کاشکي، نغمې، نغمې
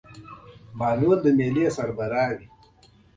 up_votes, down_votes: 0, 2